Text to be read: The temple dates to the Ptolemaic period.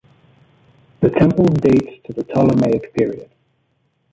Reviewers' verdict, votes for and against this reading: rejected, 1, 2